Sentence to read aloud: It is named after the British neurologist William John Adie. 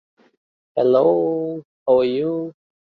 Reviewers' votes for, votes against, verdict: 0, 2, rejected